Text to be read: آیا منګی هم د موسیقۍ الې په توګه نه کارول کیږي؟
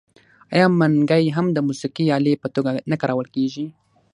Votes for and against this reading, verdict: 6, 3, accepted